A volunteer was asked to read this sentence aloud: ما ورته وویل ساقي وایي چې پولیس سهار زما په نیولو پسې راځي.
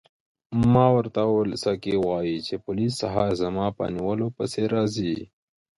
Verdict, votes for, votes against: rejected, 1, 2